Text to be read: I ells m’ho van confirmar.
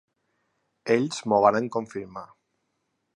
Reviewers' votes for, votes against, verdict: 0, 2, rejected